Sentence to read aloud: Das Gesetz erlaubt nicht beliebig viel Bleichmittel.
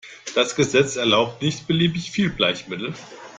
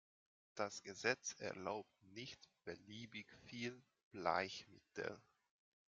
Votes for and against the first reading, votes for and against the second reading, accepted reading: 2, 1, 1, 2, first